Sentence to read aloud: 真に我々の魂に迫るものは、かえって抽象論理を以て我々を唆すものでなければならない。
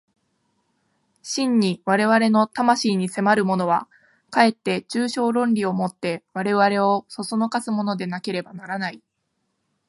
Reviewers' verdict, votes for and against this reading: accepted, 4, 0